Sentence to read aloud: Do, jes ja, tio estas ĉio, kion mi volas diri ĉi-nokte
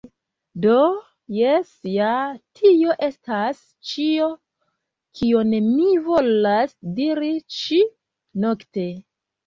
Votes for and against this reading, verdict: 1, 2, rejected